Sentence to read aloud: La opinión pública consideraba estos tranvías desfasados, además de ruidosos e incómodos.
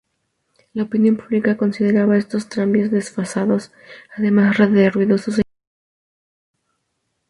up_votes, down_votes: 0, 2